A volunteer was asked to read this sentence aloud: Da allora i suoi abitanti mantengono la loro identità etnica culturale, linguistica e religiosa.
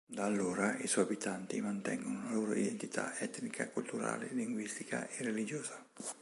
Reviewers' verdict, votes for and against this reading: accepted, 2, 0